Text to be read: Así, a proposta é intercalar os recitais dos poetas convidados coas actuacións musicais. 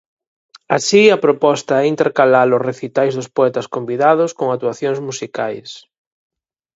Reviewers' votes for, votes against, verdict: 2, 4, rejected